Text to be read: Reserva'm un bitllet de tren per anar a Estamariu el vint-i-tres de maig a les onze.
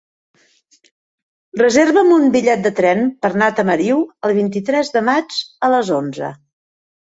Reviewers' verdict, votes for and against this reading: rejected, 0, 2